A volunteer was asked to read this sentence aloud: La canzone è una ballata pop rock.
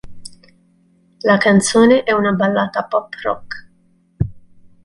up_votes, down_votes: 2, 0